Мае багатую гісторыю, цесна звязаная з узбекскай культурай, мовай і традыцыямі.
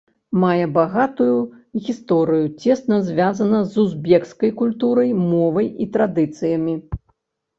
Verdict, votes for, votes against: rejected, 0, 2